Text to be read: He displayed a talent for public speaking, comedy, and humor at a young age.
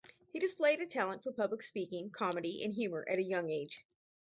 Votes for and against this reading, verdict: 4, 0, accepted